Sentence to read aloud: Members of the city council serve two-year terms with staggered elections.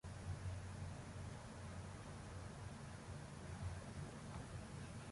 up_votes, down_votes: 0, 2